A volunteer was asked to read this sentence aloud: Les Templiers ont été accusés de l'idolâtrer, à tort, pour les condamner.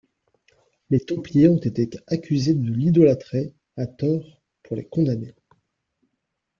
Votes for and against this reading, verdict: 2, 0, accepted